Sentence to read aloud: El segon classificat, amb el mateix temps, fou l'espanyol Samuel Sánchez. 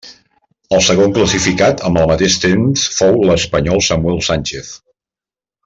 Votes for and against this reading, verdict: 3, 0, accepted